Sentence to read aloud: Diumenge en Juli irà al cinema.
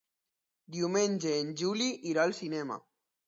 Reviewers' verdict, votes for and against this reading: accepted, 2, 0